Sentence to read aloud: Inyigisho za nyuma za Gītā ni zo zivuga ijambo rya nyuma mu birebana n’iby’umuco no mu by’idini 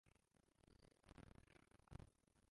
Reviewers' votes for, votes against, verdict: 0, 2, rejected